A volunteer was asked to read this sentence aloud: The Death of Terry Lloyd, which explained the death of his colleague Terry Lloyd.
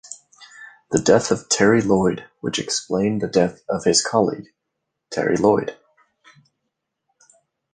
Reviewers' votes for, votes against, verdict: 1, 2, rejected